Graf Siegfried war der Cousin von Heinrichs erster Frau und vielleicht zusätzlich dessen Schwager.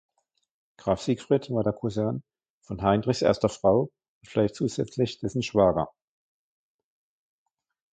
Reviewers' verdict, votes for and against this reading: rejected, 1, 2